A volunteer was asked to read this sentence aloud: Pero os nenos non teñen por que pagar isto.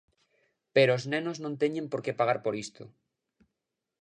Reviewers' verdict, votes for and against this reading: rejected, 1, 2